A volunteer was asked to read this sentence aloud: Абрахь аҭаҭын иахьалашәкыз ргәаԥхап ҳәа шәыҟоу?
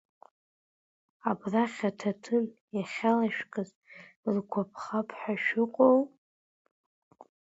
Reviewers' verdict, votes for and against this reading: accepted, 2, 1